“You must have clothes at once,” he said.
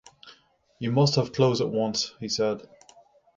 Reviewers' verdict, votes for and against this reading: rejected, 3, 3